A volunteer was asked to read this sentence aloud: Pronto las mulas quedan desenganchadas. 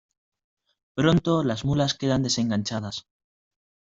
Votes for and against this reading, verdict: 2, 0, accepted